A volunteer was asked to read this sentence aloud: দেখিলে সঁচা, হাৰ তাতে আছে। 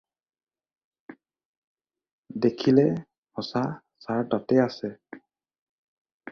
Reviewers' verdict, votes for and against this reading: rejected, 0, 2